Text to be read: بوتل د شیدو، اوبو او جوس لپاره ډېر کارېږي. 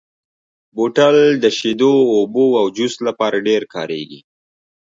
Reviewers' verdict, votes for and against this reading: accepted, 2, 0